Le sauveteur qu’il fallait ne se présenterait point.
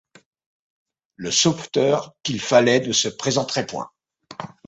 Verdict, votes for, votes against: accepted, 2, 0